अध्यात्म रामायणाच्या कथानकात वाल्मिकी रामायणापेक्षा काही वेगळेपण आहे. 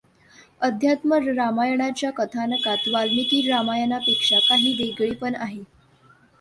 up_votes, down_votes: 2, 0